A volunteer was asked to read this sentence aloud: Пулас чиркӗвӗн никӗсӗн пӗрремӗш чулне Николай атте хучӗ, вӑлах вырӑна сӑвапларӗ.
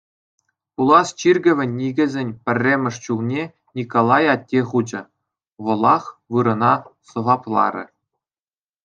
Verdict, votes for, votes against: accepted, 2, 0